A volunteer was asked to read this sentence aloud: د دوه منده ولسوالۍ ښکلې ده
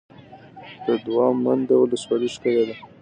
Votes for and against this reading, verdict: 2, 0, accepted